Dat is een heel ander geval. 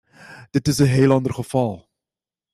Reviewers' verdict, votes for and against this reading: accepted, 2, 0